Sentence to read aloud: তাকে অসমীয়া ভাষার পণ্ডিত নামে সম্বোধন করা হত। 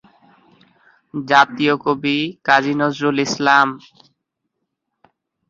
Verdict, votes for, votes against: rejected, 0, 2